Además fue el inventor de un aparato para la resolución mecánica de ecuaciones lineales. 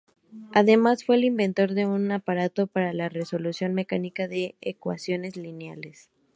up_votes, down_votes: 2, 0